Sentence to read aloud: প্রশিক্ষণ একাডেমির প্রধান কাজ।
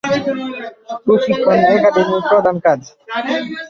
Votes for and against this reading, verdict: 0, 4, rejected